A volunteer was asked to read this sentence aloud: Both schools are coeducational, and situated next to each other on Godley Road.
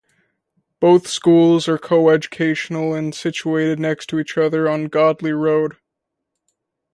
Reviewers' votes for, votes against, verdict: 2, 0, accepted